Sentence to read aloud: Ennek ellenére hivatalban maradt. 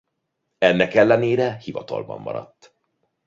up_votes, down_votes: 2, 0